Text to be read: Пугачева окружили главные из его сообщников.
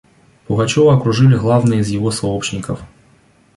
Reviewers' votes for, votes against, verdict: 2, 0, accepted